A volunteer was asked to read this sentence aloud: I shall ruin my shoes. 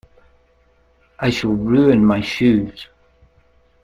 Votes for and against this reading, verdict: 2, 0, accepted